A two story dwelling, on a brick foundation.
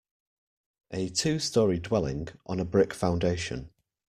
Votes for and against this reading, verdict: 2, 0, accepted